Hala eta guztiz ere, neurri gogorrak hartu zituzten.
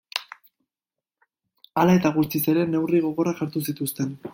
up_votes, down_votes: 2, 0